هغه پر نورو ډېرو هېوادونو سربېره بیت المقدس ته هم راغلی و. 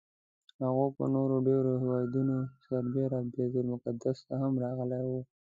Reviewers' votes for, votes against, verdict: 0, 2, rejected